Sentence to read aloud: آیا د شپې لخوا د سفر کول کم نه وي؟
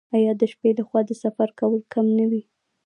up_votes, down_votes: 1, 2